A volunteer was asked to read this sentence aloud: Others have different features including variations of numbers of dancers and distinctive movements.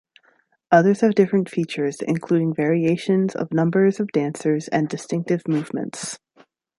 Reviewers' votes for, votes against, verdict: 3, 0, accepted